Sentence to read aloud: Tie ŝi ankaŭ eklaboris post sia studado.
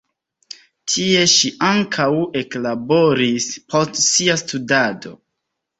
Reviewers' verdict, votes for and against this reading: accepted, 2, 0